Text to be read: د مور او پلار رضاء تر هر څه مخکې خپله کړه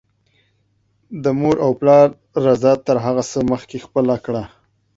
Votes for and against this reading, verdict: 1, 2, rejected